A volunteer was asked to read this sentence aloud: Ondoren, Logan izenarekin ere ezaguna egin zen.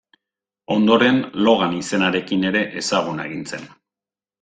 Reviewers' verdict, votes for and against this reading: accepted, 3, 0